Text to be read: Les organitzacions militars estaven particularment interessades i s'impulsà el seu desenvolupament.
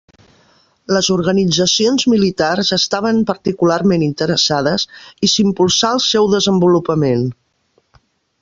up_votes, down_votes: 3, 0